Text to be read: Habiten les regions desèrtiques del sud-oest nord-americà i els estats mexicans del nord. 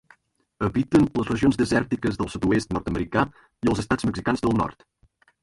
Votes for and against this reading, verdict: 1, 2, rejected